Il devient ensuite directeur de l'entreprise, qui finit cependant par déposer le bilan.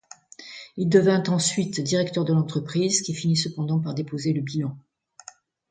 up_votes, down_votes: 2, 0